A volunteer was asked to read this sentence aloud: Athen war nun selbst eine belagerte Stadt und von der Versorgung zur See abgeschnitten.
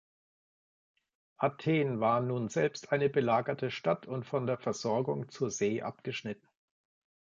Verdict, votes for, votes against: accepted, 2, 0